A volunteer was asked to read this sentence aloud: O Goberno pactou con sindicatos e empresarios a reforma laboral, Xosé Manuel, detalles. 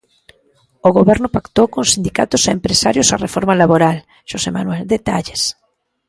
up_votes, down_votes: 2, 0